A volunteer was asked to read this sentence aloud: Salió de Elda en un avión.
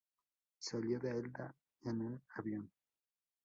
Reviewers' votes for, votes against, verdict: 0, 2, rejected